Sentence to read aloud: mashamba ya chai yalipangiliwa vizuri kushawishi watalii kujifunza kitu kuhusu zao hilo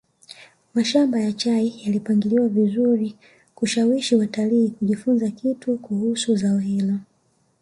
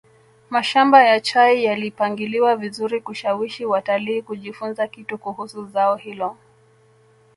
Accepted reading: second